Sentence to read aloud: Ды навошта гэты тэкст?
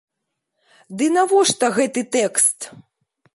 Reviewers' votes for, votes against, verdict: 2, 0, accepted